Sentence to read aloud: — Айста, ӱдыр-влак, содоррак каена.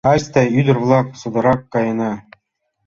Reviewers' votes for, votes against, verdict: 2, 0, accepted